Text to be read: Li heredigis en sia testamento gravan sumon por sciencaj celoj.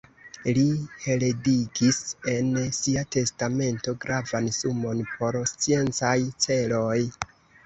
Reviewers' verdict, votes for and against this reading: rejected, 1, 2